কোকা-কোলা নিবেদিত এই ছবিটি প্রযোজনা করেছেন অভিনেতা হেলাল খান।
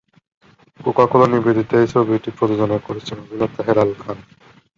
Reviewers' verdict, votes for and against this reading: rejected, 1, 2